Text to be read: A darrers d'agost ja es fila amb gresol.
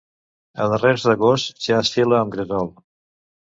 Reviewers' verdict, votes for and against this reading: rejected, 1, 2